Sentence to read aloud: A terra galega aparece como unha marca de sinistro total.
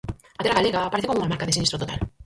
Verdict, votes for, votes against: rejected, 0, 4